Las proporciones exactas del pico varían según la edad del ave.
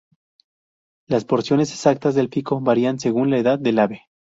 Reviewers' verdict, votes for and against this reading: rejected, 2, 2